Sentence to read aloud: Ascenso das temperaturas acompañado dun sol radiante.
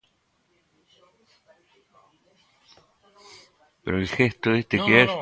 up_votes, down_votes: 0, 2